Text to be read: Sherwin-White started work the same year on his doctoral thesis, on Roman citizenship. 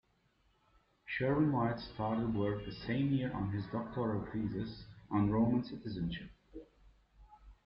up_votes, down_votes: 2, 0